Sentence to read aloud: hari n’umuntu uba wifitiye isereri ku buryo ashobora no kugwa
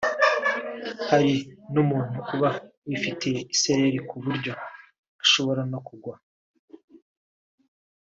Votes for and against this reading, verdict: 2, 1, accepted